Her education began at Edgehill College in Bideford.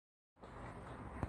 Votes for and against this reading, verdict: 0, 2, rejected